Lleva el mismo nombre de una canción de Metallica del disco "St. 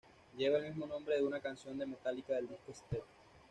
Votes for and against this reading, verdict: 1, 2, rejected